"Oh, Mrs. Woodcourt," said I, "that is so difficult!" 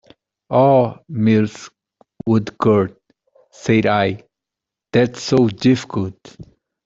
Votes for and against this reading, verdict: 2, 0, accepted